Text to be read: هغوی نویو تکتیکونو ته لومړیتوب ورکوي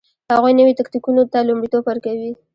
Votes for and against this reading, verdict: 2, 0, accepted